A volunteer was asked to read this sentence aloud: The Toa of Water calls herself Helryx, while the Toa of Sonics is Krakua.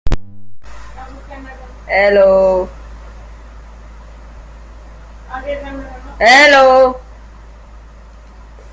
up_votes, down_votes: 0, 2